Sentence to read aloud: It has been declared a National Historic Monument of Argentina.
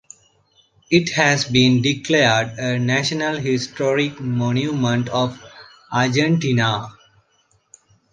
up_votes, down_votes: 2, 0